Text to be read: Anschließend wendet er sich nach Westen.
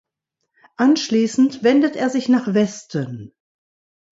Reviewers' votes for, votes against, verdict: 2, 0, accepted